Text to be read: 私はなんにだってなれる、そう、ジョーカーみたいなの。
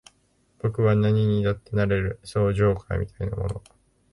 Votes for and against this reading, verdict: 2, 3, rejected